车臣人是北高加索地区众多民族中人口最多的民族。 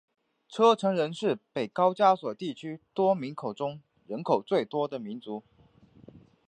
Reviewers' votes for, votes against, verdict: 2, 1, accepted